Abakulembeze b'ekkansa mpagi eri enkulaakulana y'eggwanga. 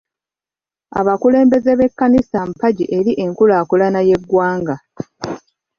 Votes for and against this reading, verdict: 1, 2, rejected